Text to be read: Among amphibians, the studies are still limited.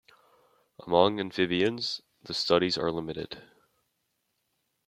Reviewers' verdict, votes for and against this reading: rejected, 0, 2